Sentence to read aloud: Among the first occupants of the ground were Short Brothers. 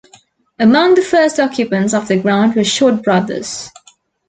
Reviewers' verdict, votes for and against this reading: accepted, 2, 0